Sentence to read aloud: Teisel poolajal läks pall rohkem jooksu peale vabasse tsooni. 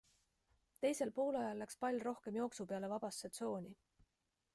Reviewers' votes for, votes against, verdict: 3, 0, accepted